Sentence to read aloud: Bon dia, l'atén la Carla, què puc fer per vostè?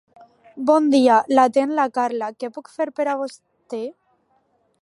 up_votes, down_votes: 1, 2